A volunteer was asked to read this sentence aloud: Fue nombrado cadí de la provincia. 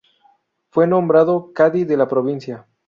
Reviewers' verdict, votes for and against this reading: rejected, 0, 2